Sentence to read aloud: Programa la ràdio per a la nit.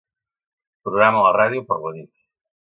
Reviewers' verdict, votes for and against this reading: rejected, 1, 2